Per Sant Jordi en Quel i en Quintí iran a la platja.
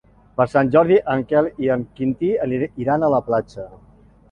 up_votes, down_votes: 0, 2